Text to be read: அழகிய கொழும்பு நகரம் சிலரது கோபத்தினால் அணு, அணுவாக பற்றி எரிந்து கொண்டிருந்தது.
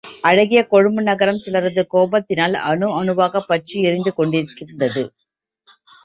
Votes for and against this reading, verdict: 1, 2, rejected